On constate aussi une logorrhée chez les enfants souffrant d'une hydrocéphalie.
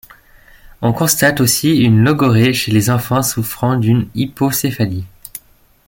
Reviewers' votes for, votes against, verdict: 0, 2, rejected